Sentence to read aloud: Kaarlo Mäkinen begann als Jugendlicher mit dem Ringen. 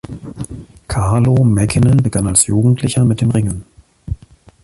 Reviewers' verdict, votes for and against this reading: accepted, 2, 1